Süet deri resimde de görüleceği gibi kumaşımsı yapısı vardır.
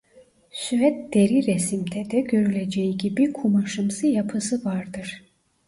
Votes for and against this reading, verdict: 1, 2, rejected